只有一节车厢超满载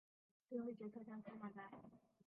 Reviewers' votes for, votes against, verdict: 1, 6, rejected